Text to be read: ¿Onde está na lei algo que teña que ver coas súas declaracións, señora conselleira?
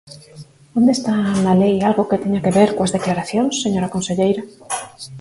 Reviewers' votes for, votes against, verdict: 0, 4, rejected